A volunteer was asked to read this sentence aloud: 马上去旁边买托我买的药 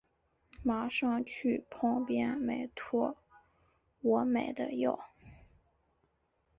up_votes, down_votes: 4, 1